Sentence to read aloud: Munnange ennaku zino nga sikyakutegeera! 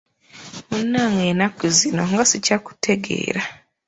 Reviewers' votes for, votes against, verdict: 1, 2, rejected